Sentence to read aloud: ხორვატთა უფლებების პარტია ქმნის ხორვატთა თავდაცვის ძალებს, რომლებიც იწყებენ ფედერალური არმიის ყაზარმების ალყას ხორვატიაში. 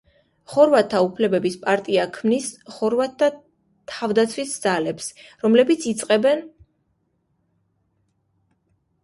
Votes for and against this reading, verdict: 0, 2, rejected